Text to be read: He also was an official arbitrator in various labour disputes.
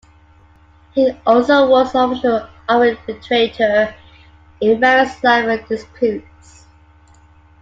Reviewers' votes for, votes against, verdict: 0, 2, rejected